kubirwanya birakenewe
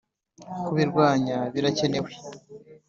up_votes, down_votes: 2, 0